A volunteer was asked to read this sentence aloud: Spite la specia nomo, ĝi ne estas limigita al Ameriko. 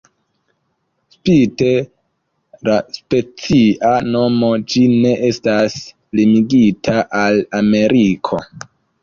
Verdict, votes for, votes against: accepted, 2, 0